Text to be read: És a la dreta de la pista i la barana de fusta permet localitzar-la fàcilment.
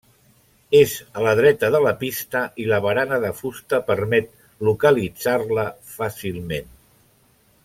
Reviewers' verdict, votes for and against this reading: accepted, 3, 0